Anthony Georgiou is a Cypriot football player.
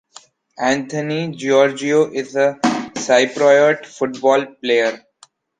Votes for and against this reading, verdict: 1, 2, rejected